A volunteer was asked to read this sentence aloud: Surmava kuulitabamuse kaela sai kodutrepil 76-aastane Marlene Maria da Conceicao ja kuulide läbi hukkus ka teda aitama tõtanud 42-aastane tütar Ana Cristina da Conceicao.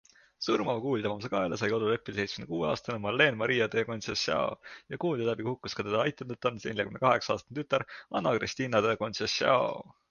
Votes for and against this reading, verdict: 0, 2, rejected